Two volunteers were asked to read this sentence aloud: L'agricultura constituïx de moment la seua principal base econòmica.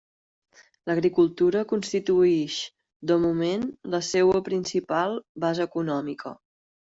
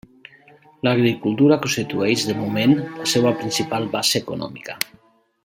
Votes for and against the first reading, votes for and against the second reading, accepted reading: 3, 0, 0, 2, first